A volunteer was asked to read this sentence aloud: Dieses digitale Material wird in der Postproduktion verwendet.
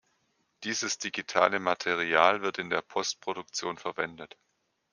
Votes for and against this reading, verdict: 2, 0, accepted